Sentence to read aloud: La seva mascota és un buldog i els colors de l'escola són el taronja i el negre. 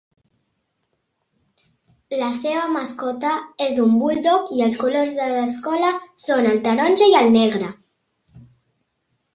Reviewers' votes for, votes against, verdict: 2, 0, accepted